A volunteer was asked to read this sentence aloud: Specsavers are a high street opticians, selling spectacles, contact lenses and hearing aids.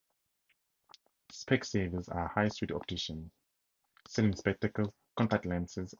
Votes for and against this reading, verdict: 0, 2, rejected